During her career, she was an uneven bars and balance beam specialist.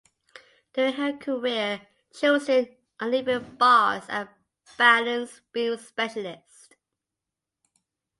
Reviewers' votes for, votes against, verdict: 2, 0, accepted